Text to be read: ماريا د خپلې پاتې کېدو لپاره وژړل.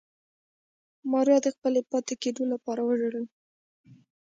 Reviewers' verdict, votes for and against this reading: rejected, 1, 2